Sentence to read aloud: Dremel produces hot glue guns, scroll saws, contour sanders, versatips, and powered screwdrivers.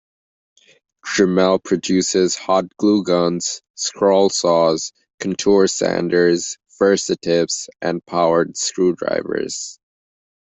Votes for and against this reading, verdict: 2, 1, accepted